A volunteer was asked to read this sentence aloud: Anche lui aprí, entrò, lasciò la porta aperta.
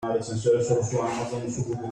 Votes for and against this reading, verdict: 0, 2, rejected